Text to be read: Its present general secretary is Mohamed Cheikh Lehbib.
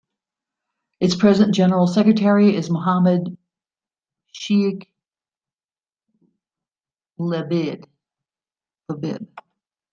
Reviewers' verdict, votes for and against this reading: accepted, 2, 1